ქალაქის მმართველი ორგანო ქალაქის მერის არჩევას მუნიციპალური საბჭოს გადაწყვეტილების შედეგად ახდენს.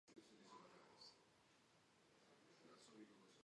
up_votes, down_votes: 1, 2